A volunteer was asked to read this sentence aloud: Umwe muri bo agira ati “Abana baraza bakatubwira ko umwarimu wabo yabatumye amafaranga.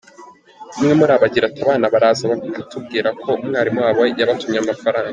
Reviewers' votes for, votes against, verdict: 0, 2, rejected